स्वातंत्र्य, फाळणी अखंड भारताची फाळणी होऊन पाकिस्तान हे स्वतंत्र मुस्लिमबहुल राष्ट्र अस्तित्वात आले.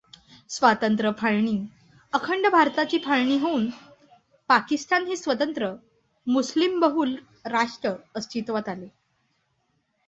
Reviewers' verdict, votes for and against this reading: accepted, 2, 0